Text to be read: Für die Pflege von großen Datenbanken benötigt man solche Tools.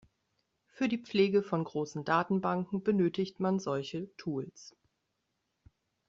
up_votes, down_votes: 1, 2